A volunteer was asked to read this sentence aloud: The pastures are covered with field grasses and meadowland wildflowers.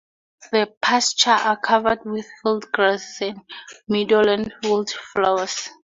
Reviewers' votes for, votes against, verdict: 0, 2, rejected